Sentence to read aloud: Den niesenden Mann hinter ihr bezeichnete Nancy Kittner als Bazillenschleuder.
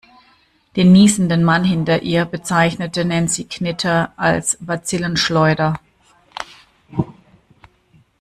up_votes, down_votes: 1, 2